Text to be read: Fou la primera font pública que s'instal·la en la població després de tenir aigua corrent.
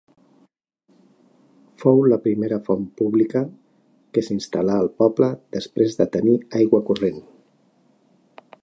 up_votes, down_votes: 2, 1